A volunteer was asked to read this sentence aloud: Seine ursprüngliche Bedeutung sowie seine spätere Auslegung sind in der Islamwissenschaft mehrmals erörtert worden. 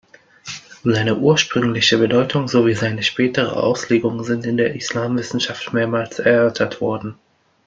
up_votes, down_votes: 2, 0